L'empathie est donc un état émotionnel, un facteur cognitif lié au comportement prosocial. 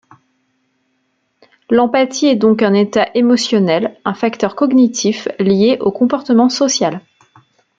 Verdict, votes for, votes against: rejected, 0, 2